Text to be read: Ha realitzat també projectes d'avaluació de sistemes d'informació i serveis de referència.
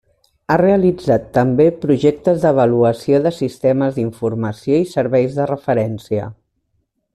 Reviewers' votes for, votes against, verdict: 3, 0, accepted